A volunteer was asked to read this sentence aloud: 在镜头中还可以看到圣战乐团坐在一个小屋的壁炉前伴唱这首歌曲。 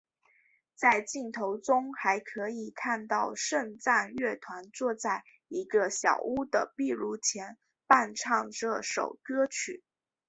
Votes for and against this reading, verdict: 4, 0, accepted